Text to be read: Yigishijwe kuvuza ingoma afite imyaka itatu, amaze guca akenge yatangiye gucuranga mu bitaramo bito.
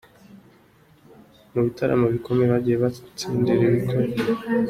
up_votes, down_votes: 0, 3